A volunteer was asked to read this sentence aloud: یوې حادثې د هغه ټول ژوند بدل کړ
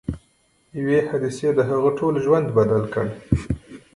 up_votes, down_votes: 0, 2